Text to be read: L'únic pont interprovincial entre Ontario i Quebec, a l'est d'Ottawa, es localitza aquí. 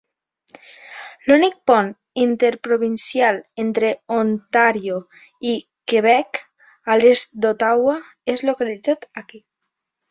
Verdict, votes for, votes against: rejected, 2, 3